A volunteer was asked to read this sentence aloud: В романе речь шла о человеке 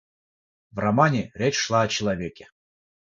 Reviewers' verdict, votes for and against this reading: rejected, 3, 3